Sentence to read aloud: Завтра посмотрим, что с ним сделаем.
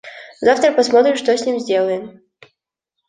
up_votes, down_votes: 0, 2